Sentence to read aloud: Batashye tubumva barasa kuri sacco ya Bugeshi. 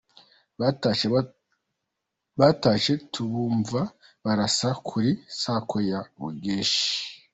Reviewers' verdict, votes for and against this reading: rejected, 0, 2